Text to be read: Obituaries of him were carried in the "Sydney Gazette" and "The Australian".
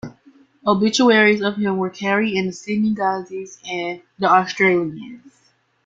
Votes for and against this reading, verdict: 1, 2, rejected